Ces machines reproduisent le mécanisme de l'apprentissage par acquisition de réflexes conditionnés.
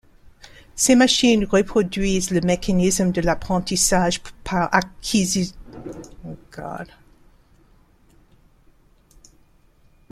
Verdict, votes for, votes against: rejected, 0, 2